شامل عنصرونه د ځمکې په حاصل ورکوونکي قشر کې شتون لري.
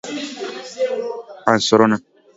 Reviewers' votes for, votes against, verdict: 0, 2, rejected